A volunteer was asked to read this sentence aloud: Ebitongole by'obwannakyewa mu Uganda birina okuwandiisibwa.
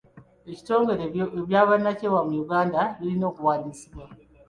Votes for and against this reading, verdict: 0, 2, rejected